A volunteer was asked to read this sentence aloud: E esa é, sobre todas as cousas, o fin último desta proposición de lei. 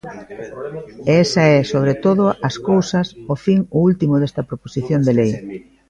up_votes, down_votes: 1, 2